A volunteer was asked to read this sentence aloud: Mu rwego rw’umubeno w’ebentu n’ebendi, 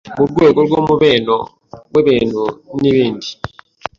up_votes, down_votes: 0, 2